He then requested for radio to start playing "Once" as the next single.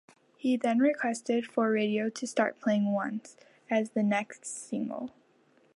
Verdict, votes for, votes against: accepted, 2, 1